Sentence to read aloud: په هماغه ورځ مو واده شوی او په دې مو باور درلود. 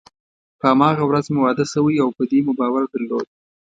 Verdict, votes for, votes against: accepted, 2, 0